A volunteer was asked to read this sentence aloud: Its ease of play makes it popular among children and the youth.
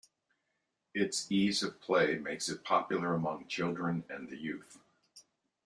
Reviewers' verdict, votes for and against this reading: accepted, 2, 0